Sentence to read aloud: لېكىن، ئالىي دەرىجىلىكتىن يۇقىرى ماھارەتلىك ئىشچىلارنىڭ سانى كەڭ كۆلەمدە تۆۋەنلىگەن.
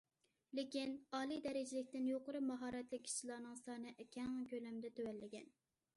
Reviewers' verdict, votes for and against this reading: accepted, 2, 0